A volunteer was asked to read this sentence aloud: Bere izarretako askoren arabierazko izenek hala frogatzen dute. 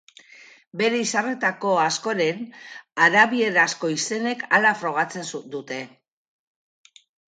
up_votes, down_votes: 2, 2